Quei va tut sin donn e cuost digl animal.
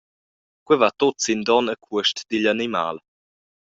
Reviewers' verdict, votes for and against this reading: accepted, 2, 0